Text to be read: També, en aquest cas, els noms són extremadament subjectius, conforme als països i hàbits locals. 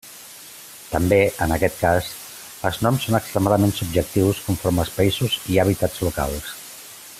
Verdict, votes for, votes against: accepted, 2, 1